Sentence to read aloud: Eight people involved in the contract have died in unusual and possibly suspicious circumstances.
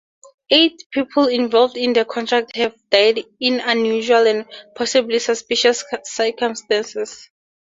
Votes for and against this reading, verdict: 2, 0, accepted